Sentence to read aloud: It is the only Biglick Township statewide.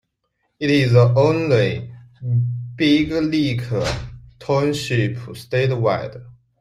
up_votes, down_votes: 1, 2